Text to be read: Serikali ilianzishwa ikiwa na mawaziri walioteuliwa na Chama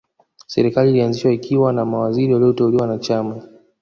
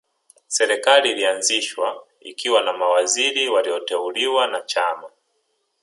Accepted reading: second